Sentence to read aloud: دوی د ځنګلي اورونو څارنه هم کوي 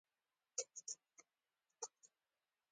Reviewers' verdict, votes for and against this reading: accepted, 2, 1